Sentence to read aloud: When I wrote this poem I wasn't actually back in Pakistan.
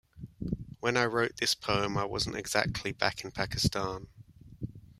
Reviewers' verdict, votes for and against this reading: rejected, 0, 2